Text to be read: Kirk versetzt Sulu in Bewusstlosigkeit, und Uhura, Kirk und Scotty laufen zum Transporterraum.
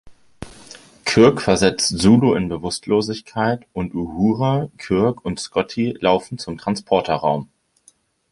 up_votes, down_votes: 2, 0